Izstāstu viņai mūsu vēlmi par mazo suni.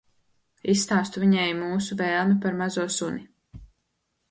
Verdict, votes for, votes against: accepted, 2, 0